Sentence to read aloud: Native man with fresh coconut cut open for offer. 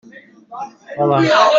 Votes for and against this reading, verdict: 0, 2, rejected